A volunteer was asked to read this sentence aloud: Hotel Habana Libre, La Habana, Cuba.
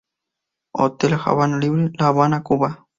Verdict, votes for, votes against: rejected, 0, 4